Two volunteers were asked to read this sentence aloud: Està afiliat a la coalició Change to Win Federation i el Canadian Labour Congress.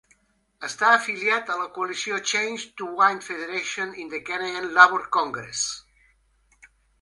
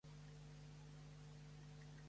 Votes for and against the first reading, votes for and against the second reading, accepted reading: 3, 2, 0, 2, first